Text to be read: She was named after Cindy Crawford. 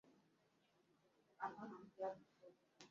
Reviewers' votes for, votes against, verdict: 0, 2, rejected